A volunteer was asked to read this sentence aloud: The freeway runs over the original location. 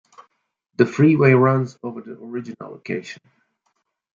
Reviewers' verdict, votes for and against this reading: accepted, 2, 1